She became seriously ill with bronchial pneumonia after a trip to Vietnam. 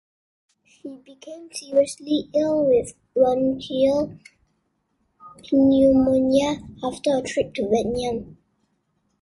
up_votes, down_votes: 1, 2